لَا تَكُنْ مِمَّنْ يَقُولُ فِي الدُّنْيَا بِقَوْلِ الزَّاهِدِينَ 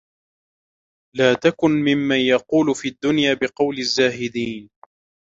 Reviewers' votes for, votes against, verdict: 2, 1, accepted